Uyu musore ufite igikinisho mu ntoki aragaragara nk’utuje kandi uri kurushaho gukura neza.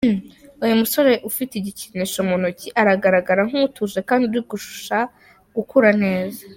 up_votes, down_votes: 2, 3